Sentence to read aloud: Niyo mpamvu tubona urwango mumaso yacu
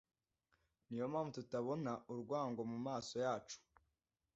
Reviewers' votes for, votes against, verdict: 2, 1, accepted